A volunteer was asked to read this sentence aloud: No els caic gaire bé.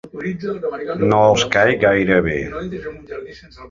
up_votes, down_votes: 1, 2